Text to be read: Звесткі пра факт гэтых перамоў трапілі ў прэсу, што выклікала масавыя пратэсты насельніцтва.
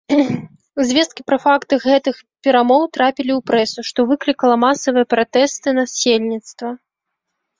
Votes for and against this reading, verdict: 1, 2, rejected